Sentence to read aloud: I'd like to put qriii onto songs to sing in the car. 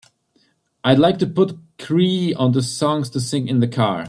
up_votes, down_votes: 2, 0